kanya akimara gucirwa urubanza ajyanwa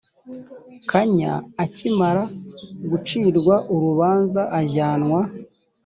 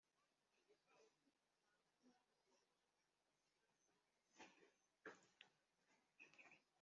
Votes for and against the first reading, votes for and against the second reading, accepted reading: 4, 0, 0, 3, first